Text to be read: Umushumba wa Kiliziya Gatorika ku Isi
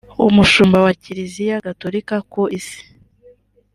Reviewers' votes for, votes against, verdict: 2, 0, accepted